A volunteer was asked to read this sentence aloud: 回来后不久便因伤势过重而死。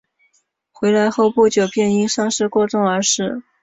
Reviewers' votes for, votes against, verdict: 5, 1, accepted